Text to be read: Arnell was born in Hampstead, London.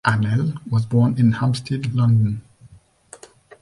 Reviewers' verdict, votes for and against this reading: accepted, 2, 0